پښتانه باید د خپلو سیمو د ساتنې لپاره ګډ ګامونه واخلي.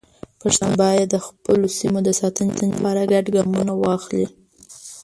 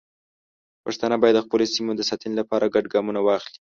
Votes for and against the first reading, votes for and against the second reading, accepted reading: 0, 2, 2, 0, second